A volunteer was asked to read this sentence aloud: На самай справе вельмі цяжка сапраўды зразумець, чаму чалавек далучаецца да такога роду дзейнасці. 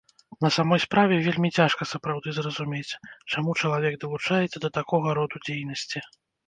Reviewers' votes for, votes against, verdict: 0, 2, rejected